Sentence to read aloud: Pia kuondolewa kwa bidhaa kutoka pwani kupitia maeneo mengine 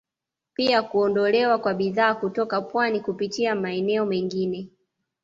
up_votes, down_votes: 2, 0